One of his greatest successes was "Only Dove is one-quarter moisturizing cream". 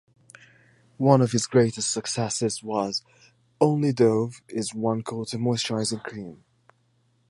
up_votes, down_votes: 2, 0